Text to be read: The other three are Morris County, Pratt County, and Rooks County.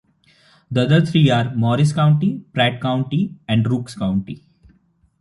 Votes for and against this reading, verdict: 2, 0, accepted